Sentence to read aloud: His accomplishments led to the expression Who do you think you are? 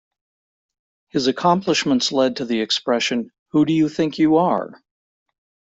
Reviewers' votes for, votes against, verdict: 2, 0, accepted